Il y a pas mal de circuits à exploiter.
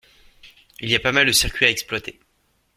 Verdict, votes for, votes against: accepted, 2, 0